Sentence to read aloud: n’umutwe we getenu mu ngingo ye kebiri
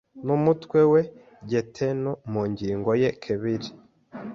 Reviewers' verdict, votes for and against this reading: rejected, 0, 2